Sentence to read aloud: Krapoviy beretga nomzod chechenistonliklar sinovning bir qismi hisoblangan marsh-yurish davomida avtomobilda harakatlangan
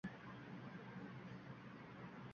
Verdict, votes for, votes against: rejected, 0, 2